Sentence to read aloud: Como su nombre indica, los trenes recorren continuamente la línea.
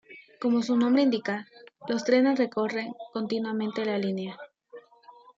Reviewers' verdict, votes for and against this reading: rejected, 0, 2